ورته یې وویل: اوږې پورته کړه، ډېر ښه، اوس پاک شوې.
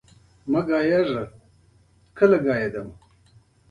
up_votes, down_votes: 0, 2